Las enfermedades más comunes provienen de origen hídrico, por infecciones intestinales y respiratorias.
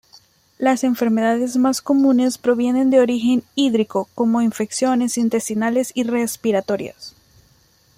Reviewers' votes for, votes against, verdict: 1, 2, rejected